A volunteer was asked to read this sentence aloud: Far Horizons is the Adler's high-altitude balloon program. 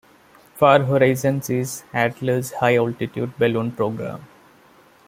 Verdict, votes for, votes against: accepted, 2, 1